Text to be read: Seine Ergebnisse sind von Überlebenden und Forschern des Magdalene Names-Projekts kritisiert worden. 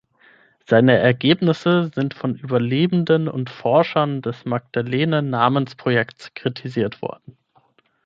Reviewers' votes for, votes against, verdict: 3, 6, rejected